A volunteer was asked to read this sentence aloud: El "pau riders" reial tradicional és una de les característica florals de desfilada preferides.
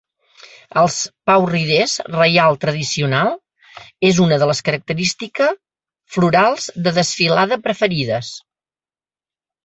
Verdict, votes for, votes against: rejected, 1, 2